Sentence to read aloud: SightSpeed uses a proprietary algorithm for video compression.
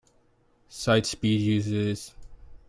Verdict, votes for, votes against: rejected, 0, 2